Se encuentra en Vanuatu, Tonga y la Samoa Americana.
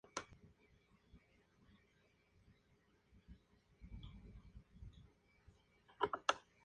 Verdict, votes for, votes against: rejected, 0, 2